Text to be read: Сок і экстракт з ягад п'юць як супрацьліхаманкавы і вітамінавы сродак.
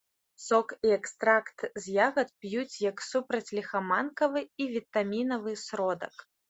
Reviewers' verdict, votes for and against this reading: accepted, 2, 0